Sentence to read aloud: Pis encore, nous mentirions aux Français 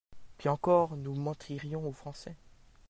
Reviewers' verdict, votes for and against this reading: accepted, 2, 0